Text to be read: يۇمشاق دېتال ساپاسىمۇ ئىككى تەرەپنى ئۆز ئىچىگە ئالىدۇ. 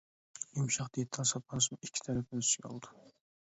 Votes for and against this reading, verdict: 0, 2, rejected